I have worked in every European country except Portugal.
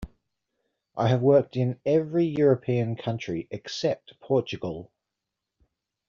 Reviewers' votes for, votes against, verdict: 2, 0, accepted